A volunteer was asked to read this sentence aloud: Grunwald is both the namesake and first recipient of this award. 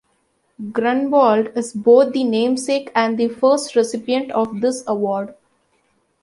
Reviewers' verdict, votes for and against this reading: accepted, 3, 0